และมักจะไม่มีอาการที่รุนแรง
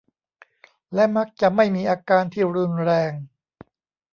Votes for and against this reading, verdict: 0, 2, rejected